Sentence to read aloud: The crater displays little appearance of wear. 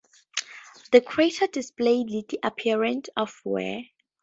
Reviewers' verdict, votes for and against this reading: rejected, 2, 2